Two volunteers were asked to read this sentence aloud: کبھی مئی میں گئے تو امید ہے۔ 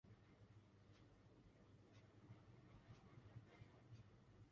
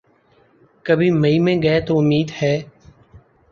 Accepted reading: second